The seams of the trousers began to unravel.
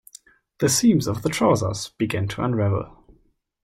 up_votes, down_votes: 2, 1